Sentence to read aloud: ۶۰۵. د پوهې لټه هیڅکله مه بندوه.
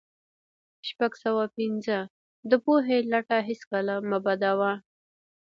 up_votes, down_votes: 0, 2